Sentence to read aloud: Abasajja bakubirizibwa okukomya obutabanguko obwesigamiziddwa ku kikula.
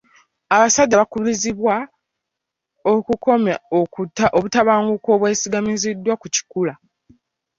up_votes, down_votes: 1, 2